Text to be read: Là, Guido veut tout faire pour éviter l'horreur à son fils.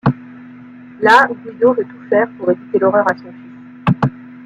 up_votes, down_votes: 1, 2